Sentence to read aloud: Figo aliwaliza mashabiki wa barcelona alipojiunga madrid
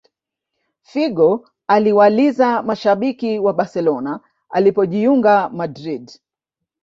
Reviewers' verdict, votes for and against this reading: accepted, 2, 0